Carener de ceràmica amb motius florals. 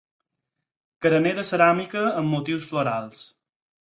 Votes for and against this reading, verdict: 4, 0, accepted